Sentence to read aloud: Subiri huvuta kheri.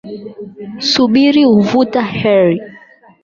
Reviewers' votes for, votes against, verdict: 0, 8, rejected